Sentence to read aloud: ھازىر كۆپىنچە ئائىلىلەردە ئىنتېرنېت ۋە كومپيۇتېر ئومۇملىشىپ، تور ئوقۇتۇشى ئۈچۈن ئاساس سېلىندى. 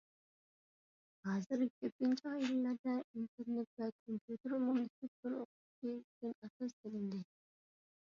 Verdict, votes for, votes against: rejected, 0, 2